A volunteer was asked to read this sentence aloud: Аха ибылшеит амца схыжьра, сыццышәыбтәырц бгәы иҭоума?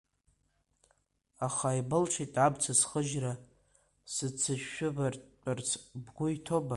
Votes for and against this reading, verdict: 2, 0, accepted